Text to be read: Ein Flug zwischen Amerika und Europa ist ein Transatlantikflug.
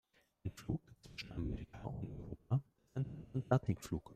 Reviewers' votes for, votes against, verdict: 0, 2, rejected